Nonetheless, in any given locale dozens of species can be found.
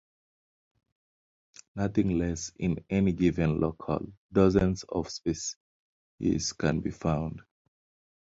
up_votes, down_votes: 0, 2